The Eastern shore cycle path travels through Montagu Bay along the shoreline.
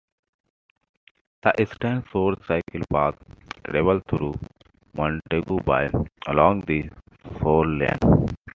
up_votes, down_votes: 2, 1